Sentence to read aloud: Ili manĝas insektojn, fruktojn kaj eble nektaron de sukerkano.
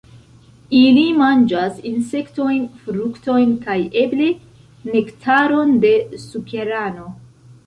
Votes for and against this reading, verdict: 1, 2, rejected